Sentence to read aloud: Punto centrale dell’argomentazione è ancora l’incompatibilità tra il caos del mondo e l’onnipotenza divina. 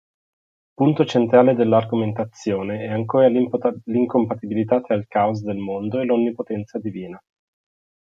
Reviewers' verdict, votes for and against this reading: rejected, 0, 2